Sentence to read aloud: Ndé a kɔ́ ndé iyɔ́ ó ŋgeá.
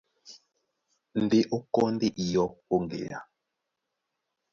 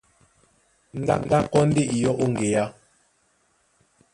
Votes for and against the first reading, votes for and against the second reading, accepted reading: 2, 1, 1, 2, first